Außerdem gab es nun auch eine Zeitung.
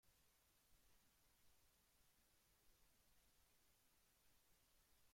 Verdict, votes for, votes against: rejected, 0, 2